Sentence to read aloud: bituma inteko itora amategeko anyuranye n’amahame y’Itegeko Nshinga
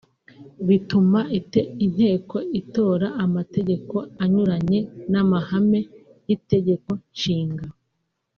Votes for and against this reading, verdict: 1, 2, rejected